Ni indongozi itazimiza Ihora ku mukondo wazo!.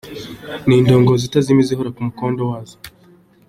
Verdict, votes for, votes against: accepted, 3, 1